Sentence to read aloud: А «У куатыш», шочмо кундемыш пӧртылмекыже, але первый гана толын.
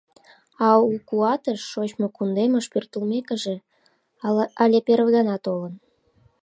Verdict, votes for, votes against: rejected, 0, 2